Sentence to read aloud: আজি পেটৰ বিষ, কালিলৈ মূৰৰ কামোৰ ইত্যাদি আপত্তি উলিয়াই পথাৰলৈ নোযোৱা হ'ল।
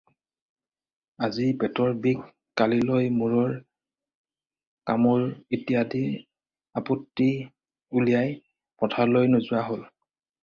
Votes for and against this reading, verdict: 0, 4, rejected